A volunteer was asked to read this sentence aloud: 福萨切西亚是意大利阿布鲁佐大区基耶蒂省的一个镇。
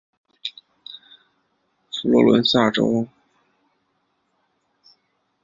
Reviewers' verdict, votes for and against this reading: rejected, 0, 2